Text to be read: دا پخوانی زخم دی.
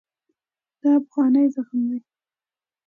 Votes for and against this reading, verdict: 2, 0, accepted